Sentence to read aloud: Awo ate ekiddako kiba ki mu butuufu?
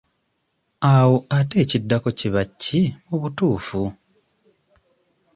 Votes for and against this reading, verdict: 2, 0, accepted